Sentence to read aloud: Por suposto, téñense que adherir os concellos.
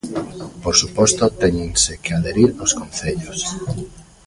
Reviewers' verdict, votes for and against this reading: rejected, 0, 2